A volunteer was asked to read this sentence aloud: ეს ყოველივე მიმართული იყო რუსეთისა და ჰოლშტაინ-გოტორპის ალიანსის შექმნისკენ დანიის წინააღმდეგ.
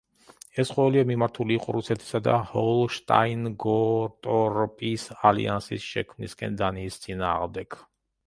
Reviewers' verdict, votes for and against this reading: rejected, 1, 2